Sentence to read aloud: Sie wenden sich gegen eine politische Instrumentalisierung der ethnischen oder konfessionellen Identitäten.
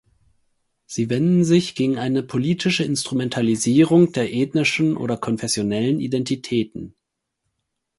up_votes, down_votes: 4, 0